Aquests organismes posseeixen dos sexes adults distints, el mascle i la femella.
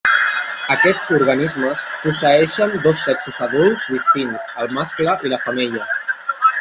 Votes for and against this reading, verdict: 1, 2, rejected